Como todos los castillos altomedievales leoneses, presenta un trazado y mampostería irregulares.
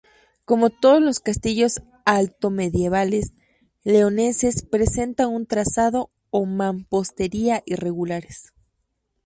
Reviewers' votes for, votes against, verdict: 0, 2, rejected